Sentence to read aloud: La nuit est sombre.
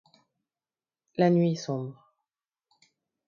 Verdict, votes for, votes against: rejected, 1, 2